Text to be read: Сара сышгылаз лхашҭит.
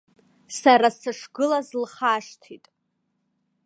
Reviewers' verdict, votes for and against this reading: rejected, 0, 2